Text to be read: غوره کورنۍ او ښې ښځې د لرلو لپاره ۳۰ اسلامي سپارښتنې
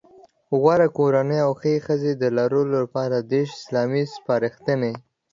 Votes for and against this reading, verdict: 0, 2, rejected